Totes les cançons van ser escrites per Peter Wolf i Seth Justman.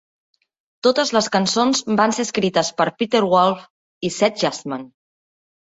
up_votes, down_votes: 2, 0